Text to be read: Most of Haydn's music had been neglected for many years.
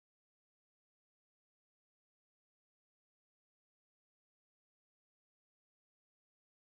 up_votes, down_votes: 0, 2